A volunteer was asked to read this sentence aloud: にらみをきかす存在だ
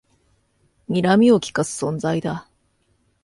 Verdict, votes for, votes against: accepted, 2, 0